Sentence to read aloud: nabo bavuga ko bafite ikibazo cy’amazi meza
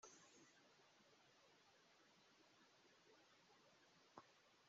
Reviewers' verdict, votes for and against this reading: rejected, 0, 2